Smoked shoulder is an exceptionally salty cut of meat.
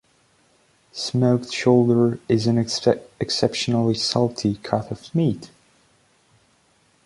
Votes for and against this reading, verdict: 0, 3, rejected